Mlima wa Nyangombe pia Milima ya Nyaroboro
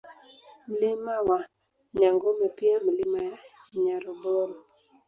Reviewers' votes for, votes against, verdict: 0, 2, rejected